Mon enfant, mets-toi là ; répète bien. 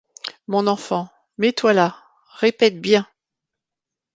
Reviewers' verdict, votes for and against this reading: accepted, 2, 0